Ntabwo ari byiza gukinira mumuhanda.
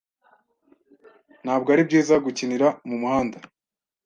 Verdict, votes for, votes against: accepted, 2, 0